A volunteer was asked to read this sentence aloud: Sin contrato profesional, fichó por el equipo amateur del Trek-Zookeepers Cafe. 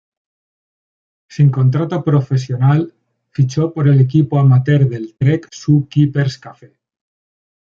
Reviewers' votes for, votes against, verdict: 2, 0, accepted